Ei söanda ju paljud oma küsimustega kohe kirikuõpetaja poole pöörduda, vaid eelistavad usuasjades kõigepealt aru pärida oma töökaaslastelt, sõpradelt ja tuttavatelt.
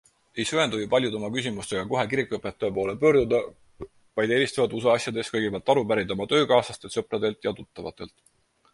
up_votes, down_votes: 4, 0